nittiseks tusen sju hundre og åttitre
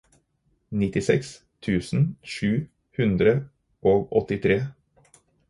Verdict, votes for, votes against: accepted, 4, 2